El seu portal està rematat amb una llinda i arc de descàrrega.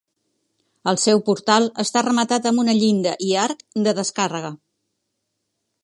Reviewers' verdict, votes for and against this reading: accepted, 2, 0